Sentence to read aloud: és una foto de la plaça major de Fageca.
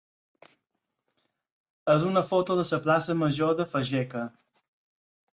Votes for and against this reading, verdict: 4, 2, accepted